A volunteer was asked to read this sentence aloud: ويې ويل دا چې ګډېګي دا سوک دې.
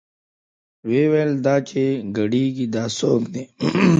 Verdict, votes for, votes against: rejected, 0, 2